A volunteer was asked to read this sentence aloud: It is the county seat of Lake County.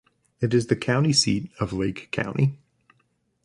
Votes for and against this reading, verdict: 2, 1, accepted